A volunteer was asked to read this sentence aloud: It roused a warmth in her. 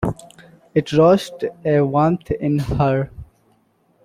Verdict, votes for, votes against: accepted, 2, 1